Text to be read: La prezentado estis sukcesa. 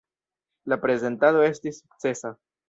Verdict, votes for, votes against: rejected, 0, 2